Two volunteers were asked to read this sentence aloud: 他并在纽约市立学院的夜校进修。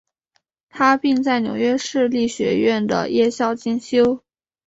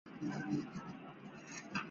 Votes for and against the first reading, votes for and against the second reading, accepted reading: 2, 0, 0, 2, first